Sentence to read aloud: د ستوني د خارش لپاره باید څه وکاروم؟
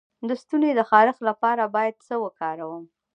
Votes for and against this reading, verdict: 1, 2, rejected